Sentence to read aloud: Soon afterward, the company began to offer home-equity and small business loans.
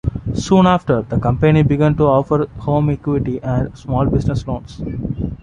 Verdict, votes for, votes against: rejected, 1, 2